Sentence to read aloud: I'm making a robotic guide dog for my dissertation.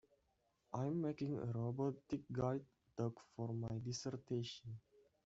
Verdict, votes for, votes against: rejected, 0, 2